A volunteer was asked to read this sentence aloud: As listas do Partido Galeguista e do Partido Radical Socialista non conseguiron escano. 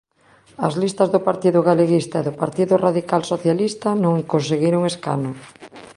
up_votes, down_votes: 2, 0